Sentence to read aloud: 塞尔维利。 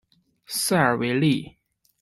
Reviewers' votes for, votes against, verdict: 2, 0, accepted